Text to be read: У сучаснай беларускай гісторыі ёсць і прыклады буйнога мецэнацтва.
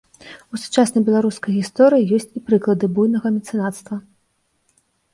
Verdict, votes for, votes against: rejected, 1, 2